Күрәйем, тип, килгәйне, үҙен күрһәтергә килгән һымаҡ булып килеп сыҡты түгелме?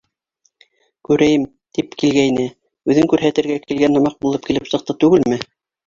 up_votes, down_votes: 1, 2